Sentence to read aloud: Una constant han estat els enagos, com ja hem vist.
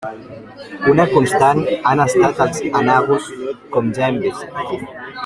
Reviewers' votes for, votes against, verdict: 1, 2, rejected